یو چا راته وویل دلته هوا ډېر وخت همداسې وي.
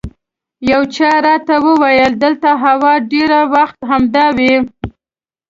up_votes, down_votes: 0, 2